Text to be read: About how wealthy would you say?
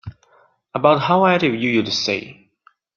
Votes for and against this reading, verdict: 0, 3, rejected